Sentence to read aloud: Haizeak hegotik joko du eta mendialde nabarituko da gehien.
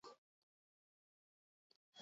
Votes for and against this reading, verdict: 0, 4, rejected